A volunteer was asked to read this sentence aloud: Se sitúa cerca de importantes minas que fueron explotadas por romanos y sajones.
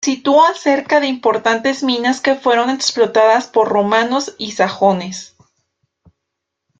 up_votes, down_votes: 1, 2